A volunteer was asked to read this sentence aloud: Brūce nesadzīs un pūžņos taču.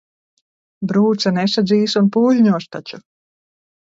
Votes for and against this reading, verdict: 2, 0, accepted